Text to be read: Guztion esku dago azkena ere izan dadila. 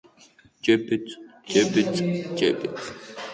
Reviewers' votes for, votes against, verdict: 2, 3, rejected